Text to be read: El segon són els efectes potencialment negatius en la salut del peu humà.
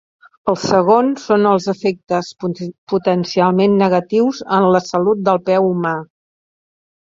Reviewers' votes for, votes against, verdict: 0, 2, rejected